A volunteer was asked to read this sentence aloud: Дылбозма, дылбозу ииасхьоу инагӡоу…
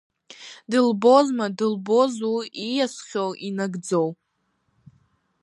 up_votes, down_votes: 2, 0